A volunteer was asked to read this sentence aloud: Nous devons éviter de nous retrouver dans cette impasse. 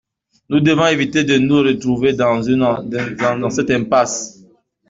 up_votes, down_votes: 1, 2